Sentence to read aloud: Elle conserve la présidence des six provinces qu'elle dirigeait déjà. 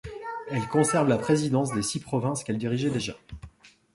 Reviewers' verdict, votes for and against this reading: rejected, 1, 2